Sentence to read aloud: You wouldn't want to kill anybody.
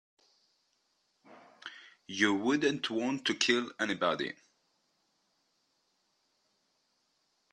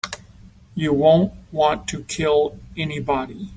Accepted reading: first